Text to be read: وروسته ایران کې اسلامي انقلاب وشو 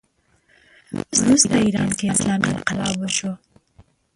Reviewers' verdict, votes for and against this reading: rejected, 1, 2